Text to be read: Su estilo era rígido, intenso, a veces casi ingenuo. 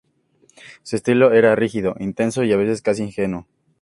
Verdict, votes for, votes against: accepted, 2, 0